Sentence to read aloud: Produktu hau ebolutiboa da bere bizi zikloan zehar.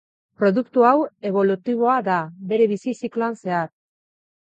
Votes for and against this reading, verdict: 2, 0, accepted